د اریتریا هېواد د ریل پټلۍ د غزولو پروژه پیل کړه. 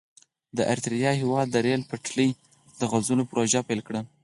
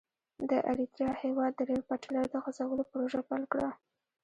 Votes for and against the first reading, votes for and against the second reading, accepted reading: 2, 4, 2, 0, second